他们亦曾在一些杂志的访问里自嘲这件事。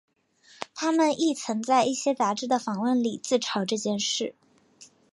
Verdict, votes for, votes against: rejected, 1, 2